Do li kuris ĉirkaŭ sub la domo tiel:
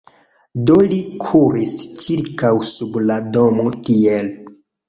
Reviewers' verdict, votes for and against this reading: accepted, 2, 0